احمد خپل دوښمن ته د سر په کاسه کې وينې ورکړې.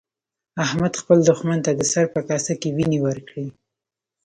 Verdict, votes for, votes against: rejected, 1, 2